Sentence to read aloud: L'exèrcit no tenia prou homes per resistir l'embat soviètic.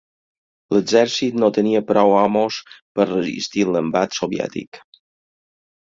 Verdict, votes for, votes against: rejected, 2, 4